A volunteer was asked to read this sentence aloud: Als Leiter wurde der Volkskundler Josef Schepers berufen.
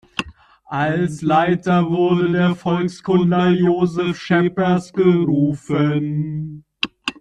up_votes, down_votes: 0, 2